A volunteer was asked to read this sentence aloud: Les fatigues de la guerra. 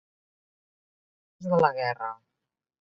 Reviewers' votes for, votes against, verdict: 0, 2, rejected